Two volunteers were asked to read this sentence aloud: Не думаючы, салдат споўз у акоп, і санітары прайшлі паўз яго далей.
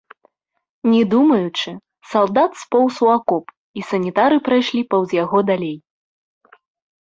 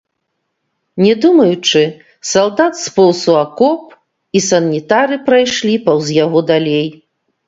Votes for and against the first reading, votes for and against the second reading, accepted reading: 2, 0, 0, 2, first